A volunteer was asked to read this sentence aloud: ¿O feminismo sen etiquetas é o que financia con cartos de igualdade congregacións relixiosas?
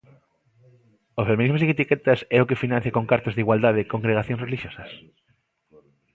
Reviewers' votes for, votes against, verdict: 2, 1, accepted